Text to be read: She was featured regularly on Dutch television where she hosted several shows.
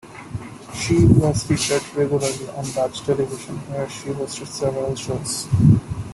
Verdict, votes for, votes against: accepted, 2, 0